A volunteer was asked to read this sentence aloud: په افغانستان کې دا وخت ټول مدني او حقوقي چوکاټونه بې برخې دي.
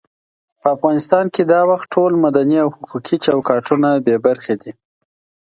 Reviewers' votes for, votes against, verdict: 2, 0, accepted